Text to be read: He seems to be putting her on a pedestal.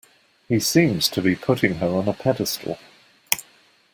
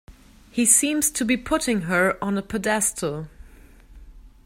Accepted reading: first